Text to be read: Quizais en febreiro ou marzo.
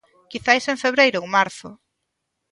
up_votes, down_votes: 2, 0